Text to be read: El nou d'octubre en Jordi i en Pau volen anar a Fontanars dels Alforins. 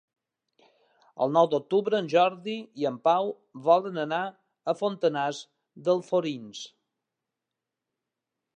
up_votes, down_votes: 1, 2